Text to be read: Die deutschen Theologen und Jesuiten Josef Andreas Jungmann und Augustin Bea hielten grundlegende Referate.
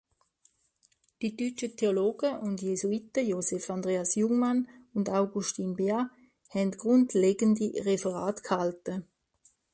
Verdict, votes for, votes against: rejected, 0, 2